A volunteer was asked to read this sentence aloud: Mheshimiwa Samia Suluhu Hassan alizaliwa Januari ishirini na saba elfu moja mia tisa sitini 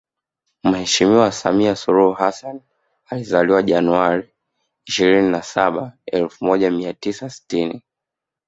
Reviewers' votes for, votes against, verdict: 2, 1, accepted